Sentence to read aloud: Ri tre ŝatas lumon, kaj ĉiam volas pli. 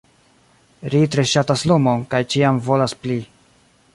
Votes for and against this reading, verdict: 1, 2, rejected